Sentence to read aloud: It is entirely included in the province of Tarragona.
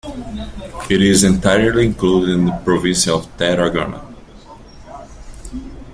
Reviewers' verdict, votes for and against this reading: accepted, 2, 0